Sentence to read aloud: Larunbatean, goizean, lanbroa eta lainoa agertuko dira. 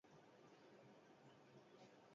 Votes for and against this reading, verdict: 2, 4, rejected